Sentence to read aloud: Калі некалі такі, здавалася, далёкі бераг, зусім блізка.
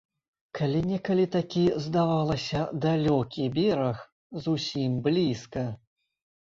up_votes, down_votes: 2, 0